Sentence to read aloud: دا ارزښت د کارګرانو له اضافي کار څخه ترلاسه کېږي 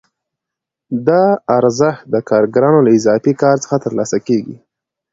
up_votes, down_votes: 2, 0